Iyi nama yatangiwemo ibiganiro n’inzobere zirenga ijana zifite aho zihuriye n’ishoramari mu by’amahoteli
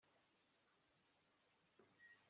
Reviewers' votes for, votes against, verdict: 1, 3, rejected